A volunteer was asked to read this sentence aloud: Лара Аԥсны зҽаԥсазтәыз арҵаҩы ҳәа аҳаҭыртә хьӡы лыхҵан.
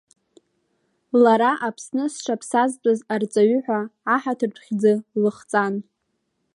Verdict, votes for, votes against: accepted, 3, 0